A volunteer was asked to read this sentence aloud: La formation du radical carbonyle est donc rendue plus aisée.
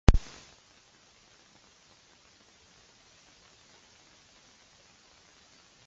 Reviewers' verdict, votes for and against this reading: rejected, 0, 2